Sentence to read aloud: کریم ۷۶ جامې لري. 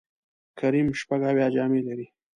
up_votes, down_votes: 0, 2